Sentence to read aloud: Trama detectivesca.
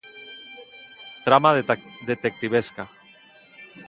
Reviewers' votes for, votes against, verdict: 0, 2, rejected